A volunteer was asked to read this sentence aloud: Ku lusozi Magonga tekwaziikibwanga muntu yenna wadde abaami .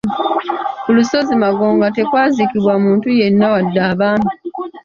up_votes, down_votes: 1, 2